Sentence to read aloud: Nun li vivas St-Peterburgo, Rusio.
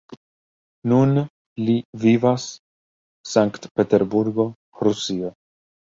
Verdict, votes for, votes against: accepted, 2, 0